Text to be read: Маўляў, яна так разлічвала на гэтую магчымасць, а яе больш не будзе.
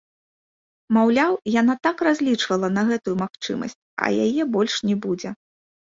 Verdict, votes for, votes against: accepted, 2, 0